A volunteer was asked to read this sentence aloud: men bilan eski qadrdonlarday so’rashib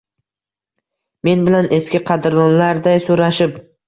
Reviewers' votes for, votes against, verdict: 2, 0, accepted